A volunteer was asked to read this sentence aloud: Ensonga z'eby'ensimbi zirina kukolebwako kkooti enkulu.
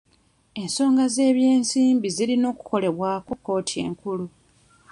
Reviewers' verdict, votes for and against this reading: rejected, 0, 2